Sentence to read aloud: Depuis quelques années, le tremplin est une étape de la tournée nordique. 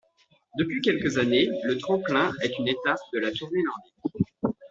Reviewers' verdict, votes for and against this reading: accepted, 2, 1